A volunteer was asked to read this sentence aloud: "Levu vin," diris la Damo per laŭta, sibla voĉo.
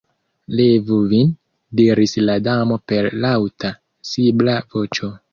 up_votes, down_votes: 2, 0